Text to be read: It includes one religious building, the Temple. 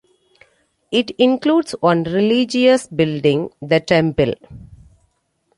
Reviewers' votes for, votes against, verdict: 2, 0, accepted